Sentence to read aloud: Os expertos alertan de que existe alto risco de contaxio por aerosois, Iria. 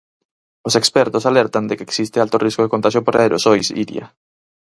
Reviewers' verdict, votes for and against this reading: accepted, 4, 0